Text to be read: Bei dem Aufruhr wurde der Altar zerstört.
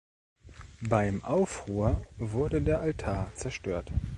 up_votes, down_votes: 0, 2